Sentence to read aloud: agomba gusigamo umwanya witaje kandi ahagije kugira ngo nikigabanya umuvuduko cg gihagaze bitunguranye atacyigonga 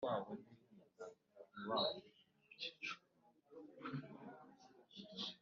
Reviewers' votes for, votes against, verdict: 0, 2, rejected